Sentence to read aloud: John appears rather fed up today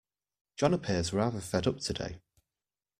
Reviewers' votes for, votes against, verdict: 2, 0, accepted